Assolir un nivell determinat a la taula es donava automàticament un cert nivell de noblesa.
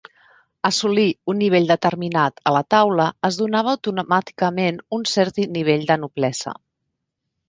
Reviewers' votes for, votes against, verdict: 0, 2, rejected